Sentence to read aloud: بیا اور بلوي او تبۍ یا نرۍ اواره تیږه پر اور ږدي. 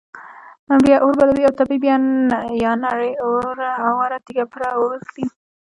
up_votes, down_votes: 1, 2